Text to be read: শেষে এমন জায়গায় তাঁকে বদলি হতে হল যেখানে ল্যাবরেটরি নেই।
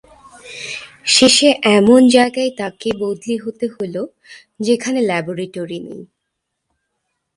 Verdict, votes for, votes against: accepted, 2, 1